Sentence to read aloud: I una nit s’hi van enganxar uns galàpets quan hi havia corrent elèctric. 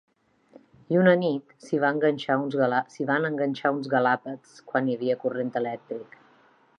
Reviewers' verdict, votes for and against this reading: rejected, 1, 2